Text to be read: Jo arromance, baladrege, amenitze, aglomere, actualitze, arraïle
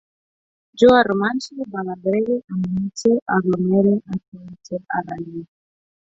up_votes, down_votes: 0, 4